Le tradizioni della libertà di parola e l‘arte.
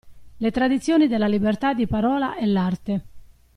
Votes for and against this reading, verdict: 2, 0, accepted